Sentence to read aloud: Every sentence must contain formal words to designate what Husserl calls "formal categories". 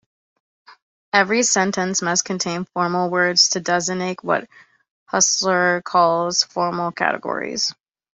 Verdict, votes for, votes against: accepted, 2, 0